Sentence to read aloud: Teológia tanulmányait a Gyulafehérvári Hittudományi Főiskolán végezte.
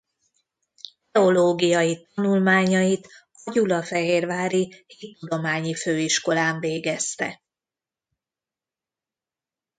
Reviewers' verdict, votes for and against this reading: rejected, 1, 2